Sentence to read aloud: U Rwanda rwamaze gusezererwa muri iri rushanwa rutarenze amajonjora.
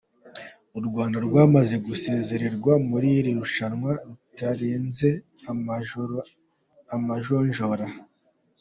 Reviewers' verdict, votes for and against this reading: rejected, 0, 2